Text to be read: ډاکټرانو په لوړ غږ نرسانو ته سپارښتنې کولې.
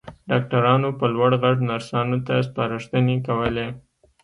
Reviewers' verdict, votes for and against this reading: accepted, 2, 0